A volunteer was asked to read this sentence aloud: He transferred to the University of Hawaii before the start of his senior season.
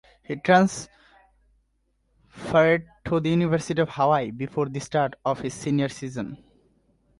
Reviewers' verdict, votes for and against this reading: rejected, 1, 2